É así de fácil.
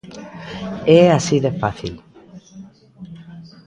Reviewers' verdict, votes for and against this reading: rejected, 1, 2